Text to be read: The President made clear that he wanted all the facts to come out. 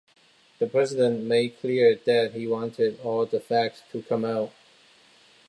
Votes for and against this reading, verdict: 2, 0, accepted